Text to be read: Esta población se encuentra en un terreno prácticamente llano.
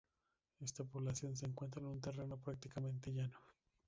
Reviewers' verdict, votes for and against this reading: rejected, 0, 2